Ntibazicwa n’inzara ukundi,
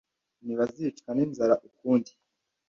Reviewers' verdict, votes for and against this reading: accepted, 2, 0